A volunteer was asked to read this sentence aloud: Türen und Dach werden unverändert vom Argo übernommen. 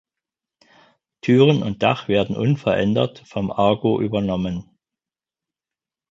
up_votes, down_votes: 4, 0